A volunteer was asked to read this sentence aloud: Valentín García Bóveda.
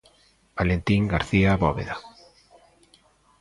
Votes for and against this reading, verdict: 2, 1, accepted